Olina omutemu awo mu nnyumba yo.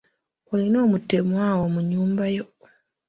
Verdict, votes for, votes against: accepted, 2, 1